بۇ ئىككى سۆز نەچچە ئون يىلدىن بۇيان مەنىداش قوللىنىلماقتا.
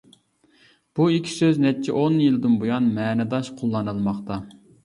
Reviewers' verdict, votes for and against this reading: rejected, 1, 2